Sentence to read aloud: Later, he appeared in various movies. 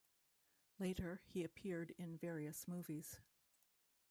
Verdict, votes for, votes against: rejected, 0, 2